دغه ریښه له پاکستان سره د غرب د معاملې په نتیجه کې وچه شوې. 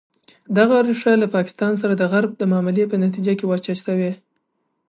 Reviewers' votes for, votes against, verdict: 3, 0, accepted